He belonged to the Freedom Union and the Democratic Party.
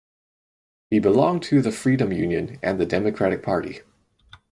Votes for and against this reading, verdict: 4, 0, accepted